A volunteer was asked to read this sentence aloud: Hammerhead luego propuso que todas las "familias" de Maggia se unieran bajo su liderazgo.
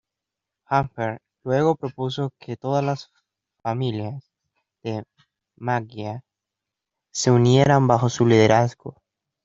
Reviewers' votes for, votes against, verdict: 2, 1, accepted